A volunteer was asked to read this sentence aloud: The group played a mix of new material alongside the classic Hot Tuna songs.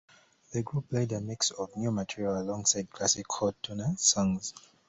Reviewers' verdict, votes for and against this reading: rejected, 1, 2